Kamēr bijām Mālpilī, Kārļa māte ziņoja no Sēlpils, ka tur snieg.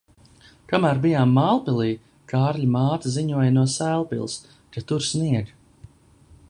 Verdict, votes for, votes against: accepted, 2, 0